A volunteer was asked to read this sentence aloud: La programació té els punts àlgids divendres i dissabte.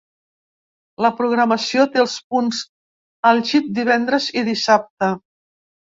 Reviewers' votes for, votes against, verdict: 1, 2, rejected